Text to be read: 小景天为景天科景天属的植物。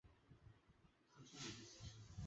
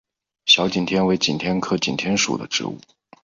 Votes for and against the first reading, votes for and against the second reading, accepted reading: 0, 2, 3, 2, second